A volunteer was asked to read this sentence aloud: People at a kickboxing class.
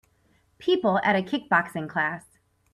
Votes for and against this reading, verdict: 4, 0, accepted